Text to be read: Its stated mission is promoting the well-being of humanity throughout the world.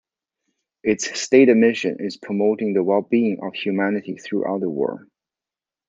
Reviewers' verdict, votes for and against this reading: accepted, 2, 0